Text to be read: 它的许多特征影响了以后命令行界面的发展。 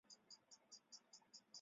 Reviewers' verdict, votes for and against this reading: rejected, 2, 5